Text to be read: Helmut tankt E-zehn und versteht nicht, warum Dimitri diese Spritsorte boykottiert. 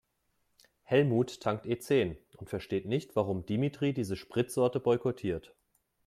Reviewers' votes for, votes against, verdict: 3, 0, accepted